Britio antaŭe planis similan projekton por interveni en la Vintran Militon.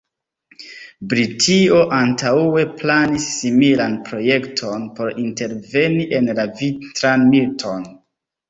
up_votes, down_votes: 1, 2